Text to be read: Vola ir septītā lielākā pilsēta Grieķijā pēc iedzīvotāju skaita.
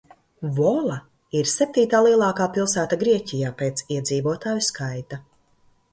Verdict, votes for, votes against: accepted, 2, 0